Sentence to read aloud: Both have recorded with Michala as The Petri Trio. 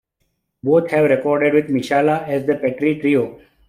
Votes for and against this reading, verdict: 1, 2, rejected